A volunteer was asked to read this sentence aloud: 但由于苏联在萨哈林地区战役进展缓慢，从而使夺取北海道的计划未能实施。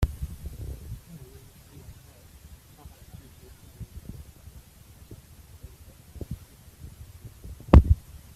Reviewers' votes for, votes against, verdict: 0, 2, rejected